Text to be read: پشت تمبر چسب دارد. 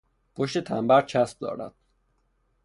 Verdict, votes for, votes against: rejected, 0, 3